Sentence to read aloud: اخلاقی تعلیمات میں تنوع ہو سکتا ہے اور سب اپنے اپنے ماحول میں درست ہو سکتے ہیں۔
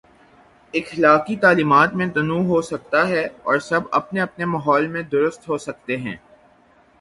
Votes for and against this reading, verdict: 3, 0, accepted